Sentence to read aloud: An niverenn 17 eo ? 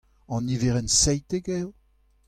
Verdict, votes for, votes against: rejected, 0, 2